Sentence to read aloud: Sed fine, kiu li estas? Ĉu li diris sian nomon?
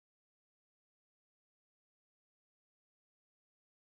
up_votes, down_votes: 0, 3